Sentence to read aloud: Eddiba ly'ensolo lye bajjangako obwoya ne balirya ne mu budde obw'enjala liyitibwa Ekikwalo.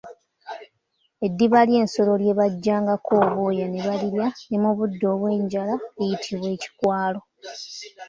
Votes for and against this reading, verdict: 2, 0, accepted